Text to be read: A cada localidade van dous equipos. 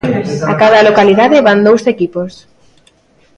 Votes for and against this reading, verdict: 2, 0, accepted